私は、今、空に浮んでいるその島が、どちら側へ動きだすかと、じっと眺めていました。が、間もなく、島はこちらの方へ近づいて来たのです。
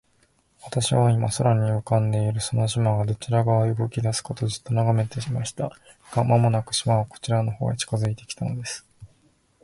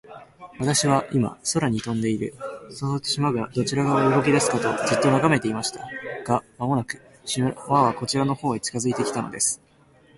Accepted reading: first